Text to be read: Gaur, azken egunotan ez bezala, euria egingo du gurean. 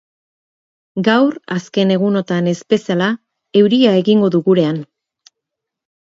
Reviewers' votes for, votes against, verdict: 0, 2, rejected